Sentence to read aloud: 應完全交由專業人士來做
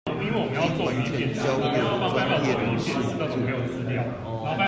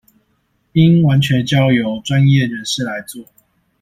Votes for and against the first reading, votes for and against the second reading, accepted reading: 0, 2, 2, 0, second